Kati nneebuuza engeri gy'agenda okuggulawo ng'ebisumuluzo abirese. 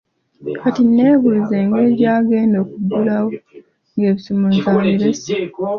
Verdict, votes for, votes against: accepted, 2, 0